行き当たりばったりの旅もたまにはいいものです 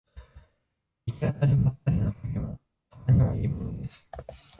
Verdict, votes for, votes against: rejected, 0, 2